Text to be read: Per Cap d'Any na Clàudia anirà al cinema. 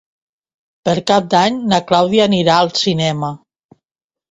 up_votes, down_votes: 2, 0